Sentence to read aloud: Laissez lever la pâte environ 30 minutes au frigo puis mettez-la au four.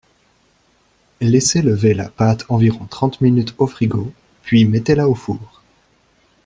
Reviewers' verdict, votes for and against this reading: rejected, 0, 2